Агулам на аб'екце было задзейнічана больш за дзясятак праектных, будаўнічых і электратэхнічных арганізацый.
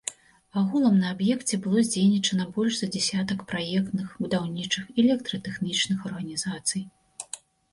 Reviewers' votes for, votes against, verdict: 1, 2, rejected